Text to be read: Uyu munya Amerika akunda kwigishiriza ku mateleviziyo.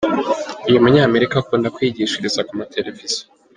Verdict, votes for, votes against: accepted, 3, 1